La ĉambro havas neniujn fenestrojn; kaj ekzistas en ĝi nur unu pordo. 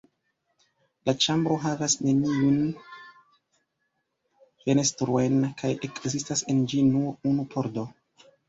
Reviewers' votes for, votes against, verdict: 1, 2, rejected